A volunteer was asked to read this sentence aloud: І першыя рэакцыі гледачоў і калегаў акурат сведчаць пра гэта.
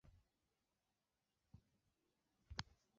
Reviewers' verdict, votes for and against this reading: rejected, 1, 2